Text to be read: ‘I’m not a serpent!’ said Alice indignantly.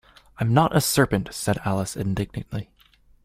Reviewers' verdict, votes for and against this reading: accepted, 2, 0